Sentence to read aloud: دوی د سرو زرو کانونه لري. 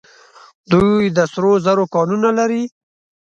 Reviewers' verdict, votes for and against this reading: accepted, 2, 0